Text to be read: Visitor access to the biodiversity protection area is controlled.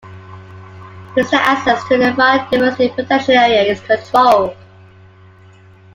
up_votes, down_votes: 2, 1